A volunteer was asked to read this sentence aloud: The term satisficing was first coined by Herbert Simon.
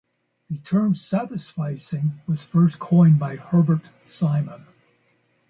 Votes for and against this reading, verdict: 2, 0, accepted